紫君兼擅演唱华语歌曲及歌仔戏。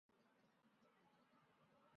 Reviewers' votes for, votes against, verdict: 0, 2, rejected